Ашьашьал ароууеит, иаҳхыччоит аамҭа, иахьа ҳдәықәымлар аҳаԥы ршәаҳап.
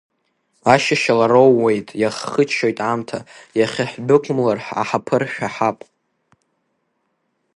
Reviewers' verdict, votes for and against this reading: accepted, 2, 0